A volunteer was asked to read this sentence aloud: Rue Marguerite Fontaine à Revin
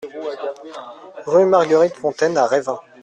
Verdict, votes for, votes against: rejected, 1, 2